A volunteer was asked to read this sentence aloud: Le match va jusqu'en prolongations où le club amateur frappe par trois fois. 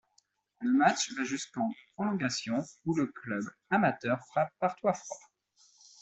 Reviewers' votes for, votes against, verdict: 2, 0, accepted